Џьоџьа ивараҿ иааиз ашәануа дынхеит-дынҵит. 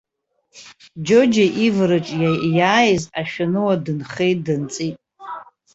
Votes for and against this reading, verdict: 2, 1, accepted